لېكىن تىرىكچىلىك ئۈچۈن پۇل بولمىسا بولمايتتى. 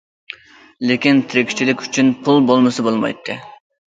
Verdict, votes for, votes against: accepted, 2, 0